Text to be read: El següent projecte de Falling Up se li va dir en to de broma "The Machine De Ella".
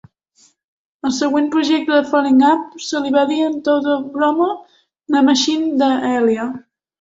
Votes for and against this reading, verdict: 2, 1, accepted